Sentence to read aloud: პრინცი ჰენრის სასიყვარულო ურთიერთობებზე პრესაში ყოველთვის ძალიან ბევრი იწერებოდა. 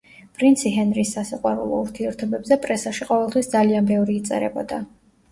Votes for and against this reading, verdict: 2, 0, accepted